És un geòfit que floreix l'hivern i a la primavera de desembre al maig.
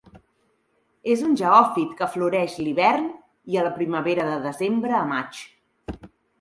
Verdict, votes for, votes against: accepted, 2, 1